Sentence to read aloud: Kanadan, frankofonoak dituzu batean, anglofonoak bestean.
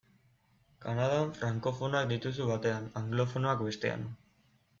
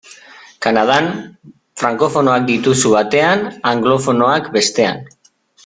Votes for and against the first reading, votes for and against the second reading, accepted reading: 2, 0, 1, 2, first